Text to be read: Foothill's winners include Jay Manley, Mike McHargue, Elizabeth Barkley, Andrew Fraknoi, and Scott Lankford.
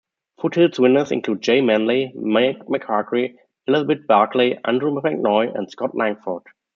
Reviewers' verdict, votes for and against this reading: rejected, 1, 2